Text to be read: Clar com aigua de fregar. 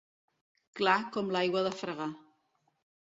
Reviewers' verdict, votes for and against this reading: rejected, 1, 2